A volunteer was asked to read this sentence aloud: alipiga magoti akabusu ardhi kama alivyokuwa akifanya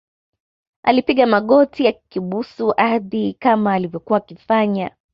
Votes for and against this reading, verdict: 0, 2, rejected